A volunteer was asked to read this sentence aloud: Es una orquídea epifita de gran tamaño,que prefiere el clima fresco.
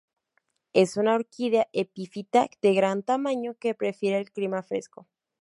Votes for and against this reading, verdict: 2, 0, accepted